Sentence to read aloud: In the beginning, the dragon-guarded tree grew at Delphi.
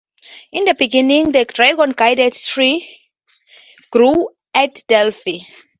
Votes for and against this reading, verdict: 8, 6, accepted